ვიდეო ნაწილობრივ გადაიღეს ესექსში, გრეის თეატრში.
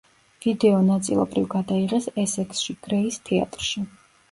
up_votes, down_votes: 2, 0